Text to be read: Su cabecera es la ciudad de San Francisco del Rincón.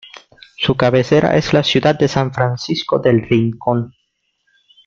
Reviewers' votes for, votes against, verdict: 2, 1, accepted